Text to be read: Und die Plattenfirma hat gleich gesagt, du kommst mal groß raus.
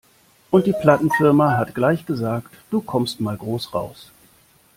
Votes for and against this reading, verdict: 2, 0, accepted